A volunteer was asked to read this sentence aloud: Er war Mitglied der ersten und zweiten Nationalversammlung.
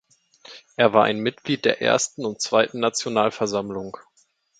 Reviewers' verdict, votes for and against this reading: rejected, 0, 2